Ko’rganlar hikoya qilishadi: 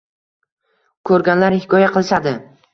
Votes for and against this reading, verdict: 2, 1, accepted